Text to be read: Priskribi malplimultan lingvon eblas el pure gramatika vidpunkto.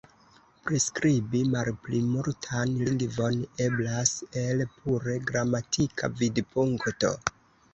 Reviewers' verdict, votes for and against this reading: rejected, 1, 2